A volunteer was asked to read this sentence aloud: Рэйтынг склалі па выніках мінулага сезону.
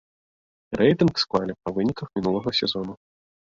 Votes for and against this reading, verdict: 2, 0, accepted